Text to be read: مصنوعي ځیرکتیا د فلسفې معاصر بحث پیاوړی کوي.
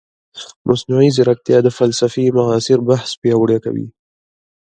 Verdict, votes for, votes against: rejected, 1, 2